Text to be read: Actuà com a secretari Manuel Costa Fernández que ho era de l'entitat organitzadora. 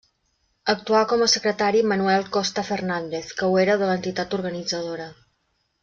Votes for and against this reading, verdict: 3, 0, accepted